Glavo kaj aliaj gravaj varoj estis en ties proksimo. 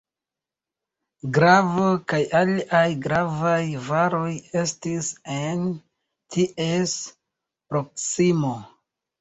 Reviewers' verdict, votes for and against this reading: rejected, 0, 2